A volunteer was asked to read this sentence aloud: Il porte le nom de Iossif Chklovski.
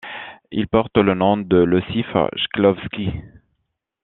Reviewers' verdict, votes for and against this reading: accepted, 2, 0